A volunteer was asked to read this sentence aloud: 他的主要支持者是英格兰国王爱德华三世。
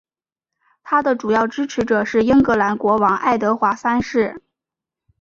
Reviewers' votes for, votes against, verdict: 2, 0, accepted